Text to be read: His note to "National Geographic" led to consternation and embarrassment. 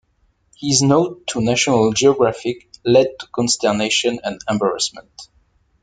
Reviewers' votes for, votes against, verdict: 1, 2, rejected